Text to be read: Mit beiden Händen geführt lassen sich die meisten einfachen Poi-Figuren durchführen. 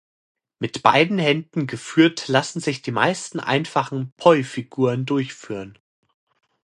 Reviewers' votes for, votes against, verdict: 2, 0, accepted